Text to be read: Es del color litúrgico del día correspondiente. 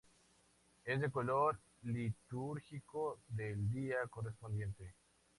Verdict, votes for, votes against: accepted, 4, 2